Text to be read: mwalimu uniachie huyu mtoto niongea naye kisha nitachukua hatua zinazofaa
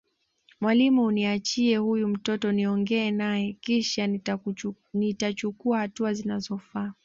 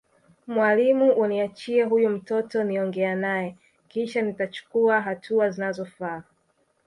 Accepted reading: second